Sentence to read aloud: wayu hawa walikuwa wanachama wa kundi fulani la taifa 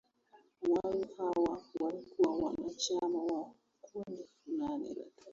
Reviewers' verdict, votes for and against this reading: rejected, 0, 2